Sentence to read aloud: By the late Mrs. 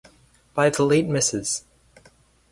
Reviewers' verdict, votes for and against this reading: rejected, 2, 2